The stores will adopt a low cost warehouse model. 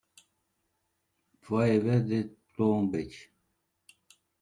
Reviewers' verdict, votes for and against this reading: rejected, 1, 2